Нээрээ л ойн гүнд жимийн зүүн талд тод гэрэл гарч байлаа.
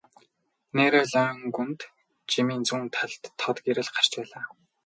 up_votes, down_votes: 0, 2